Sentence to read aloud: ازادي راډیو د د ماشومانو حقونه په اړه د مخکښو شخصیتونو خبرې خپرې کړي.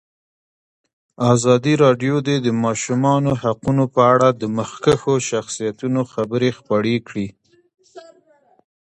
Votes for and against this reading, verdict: 2, 0, accepted